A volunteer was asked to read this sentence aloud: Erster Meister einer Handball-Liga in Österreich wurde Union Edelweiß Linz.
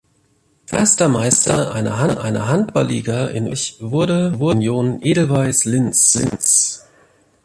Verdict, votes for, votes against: rejected, 0, 2